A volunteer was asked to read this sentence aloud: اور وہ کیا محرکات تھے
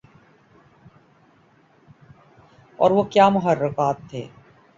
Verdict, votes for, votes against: rejected, 2, 2